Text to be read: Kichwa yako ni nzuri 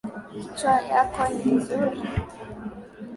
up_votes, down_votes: 1, 2